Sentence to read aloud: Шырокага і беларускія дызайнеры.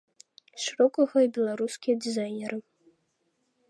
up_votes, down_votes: 2, 0